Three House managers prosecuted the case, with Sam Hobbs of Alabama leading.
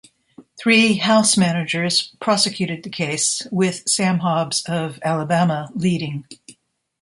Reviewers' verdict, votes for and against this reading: accepted, 2, 0